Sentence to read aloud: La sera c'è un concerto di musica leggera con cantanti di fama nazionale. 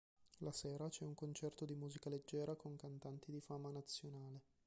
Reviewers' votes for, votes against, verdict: 0, 2, rejected